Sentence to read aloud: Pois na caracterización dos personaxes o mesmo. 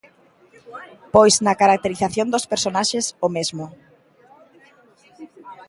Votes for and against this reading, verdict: 1, 2, rejected